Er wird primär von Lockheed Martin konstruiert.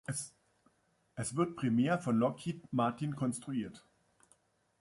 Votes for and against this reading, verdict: 1, 2, rejected